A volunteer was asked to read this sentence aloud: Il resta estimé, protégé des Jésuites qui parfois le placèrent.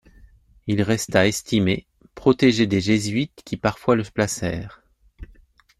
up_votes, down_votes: 0, 2